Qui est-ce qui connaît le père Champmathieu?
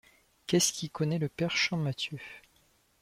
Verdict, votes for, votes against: rejected, 0, 2